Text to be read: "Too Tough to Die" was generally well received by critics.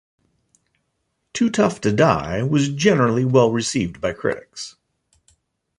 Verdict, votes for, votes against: accepted, 2, 0